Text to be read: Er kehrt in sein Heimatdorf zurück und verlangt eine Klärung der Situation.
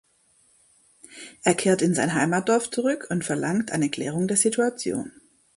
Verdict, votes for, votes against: accepted, 2, 1